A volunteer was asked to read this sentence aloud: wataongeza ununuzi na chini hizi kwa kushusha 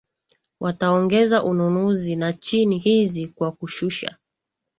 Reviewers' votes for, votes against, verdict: 2, 0, accepted